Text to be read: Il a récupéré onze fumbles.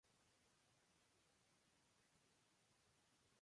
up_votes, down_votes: 0, 2